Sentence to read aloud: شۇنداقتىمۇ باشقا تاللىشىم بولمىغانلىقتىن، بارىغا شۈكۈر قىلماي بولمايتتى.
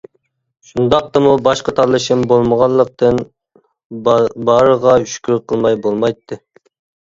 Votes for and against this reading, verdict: 1, 2, rejected